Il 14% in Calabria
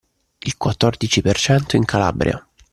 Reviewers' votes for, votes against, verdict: 0, 2, rejected